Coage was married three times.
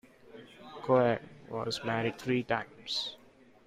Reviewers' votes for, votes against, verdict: 0, 2, rejected